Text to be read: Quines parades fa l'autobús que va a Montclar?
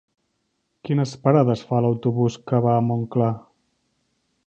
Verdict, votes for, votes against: accepted, 3, 0